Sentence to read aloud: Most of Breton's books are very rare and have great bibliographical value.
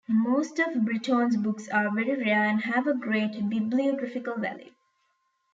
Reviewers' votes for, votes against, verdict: 1, 2, rejected